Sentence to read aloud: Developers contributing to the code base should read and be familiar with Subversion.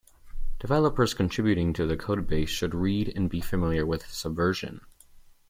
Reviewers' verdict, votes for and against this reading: accepted, 2, 0